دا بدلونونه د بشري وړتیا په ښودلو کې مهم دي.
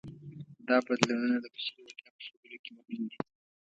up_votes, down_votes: 1, 2